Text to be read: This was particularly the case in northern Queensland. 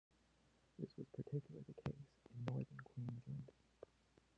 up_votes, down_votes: 0, 2